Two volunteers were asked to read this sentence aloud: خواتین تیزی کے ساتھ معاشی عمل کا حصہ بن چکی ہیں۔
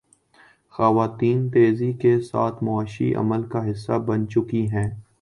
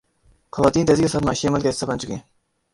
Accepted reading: first